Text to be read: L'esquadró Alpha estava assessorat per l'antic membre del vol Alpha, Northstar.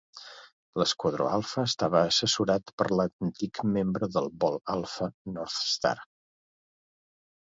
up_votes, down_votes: 1, 2